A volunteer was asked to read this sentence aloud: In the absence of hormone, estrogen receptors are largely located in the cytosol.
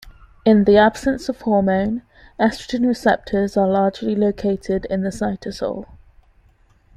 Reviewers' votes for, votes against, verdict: 2, 0, accepted